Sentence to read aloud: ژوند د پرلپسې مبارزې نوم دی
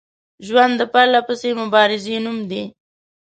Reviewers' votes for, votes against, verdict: 2, 0, accepted